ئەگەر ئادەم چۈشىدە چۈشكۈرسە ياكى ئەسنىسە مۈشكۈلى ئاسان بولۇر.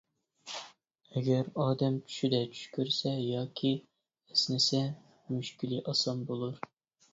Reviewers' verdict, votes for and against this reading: rejected, 0, 2